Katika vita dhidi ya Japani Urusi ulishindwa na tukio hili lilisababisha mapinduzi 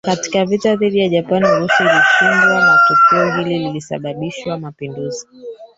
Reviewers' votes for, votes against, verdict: 0, 4, rejected